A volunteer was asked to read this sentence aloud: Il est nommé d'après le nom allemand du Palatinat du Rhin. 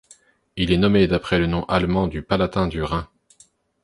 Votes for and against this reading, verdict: 1, 2, rejected